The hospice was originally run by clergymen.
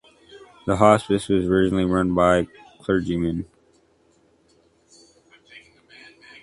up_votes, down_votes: 2, 1